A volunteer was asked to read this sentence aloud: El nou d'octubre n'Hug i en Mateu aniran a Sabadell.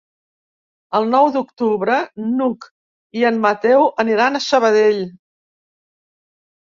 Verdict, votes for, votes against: accepted, 3, 0